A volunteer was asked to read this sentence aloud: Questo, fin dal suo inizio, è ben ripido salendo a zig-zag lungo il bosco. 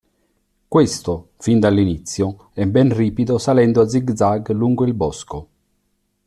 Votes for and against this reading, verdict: 0, 2, rejected